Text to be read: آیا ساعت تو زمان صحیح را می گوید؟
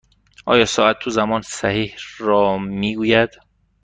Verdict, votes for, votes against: rejected, 1, 2